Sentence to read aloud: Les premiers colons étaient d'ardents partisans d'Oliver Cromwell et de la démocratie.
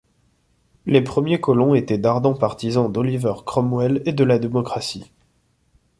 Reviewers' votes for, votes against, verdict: 2, 0, accepted